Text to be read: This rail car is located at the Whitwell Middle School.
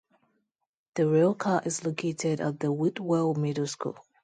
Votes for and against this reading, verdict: 0, 2, rejected